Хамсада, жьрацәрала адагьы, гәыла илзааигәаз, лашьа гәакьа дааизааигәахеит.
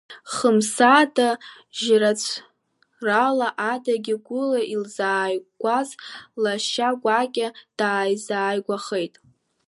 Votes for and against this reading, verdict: 0, 2, rejected